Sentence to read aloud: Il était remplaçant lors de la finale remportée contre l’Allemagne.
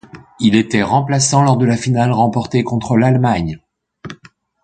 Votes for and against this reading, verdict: 2, 0, accepted